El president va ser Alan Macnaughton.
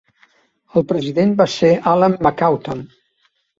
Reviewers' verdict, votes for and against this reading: rejected, 0, 2